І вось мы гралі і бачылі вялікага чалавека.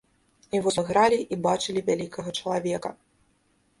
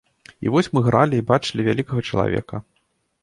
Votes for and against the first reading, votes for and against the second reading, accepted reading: 1, 2, 2, 0, second